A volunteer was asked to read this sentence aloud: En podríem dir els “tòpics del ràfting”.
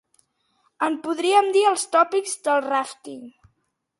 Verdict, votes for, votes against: accepted, 2, 0